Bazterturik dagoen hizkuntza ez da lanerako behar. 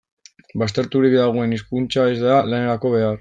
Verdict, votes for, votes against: rejected, 1, 2